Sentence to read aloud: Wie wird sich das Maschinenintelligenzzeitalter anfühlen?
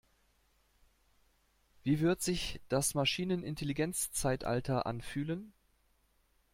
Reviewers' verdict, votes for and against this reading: accepted, 2, 0